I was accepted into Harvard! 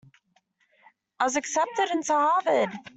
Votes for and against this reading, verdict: 2, 0, accepted